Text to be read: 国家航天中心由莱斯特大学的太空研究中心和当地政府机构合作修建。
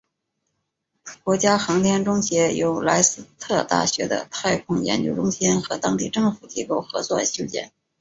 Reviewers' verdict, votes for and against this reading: rejected, 1, 2